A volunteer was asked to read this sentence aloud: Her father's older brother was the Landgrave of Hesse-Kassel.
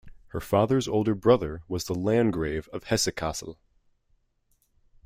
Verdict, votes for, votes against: accepted, 2, 0